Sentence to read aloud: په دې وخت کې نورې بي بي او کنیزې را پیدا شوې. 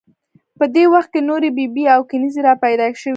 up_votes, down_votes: 3, 0